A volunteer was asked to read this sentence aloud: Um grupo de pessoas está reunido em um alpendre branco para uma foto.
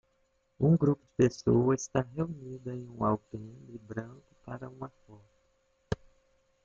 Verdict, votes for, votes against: rejected, 0, 2